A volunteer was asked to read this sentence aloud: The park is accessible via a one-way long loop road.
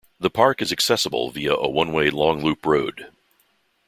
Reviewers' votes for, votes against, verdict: 2, 0, accepted